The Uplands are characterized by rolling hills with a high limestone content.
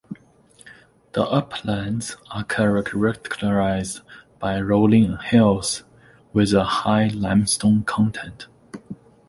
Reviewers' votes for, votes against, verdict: 0, 2, rejected